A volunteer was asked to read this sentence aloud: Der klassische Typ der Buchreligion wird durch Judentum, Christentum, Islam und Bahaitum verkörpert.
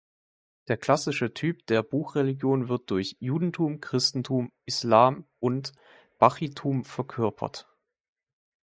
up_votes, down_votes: 0, 2